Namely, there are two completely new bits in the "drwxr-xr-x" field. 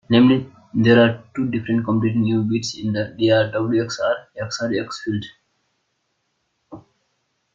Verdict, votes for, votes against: rejected, 0, 3